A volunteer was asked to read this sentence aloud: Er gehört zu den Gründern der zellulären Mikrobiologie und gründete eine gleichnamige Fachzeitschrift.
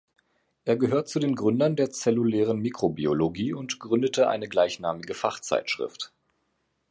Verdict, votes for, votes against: accepted, 2, 0